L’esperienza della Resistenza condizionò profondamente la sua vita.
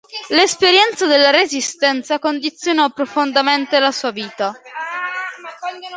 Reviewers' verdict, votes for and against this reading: accepted, 2, 0